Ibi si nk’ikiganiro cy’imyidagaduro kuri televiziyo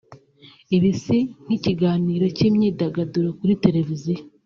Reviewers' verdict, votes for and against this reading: accepted, 2, 1